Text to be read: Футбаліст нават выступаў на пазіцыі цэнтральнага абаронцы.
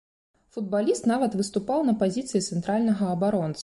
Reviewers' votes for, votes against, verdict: 1, 2, rejected